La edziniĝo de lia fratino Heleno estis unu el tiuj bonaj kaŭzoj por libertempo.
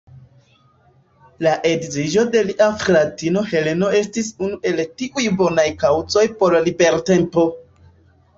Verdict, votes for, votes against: rejected, 1, 2